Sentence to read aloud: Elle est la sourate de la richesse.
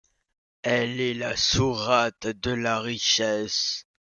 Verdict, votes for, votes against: rejected, 1, 2